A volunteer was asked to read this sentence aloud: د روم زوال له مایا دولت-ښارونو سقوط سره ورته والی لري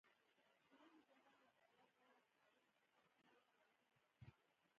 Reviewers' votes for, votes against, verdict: 0, 2, rejected